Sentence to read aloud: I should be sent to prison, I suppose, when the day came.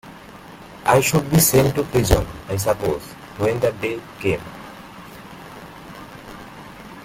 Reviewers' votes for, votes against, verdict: 1, 2, rejected